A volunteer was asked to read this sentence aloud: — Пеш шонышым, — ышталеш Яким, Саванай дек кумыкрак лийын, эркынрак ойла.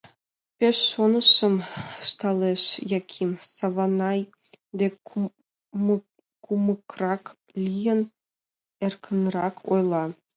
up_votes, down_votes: 0, 4